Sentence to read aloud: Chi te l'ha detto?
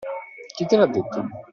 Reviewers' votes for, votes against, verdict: 2, 0, accepted